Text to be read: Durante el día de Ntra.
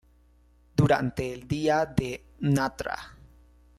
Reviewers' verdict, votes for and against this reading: rejected, 1, 2